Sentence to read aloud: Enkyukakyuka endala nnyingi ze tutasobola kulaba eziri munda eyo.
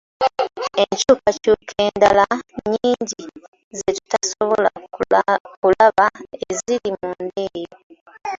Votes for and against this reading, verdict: 2, 1, accepted